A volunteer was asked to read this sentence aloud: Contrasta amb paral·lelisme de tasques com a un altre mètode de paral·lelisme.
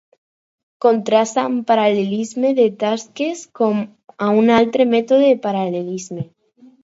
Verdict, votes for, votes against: accepted, 4, 0